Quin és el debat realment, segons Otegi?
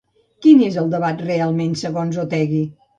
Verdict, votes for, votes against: accepted, 2, 0